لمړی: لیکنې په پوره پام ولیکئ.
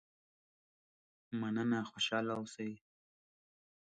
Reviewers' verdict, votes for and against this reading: rejected, 0, 2